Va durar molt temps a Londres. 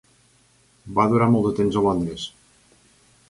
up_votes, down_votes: 1, 2